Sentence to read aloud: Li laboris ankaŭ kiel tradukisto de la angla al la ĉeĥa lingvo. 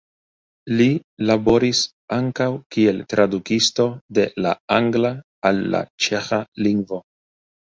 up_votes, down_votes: 1, 2